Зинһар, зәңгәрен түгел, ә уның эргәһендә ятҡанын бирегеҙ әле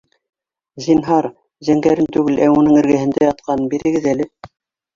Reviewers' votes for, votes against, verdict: 0, 2, rejected